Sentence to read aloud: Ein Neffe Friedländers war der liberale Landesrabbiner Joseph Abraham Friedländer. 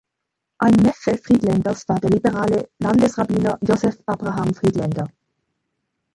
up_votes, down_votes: 2, 1